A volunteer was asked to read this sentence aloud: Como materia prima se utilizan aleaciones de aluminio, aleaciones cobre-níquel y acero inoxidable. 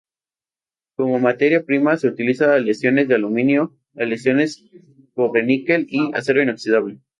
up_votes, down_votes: 0, 2